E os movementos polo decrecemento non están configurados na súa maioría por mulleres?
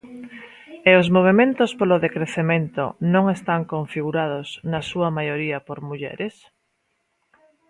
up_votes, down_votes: 2, 0